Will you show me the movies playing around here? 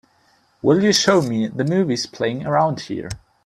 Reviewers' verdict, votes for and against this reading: accepted, 2, 1